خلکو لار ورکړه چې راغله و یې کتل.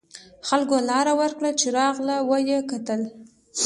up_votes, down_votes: 2, 0